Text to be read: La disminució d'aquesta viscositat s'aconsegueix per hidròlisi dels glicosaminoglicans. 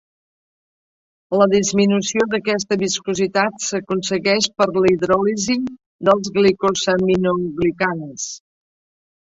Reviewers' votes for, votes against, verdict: 0, 4, rejected